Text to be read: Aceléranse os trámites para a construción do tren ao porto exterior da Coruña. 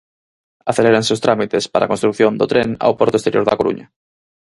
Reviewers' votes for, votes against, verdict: 4, 0, accepted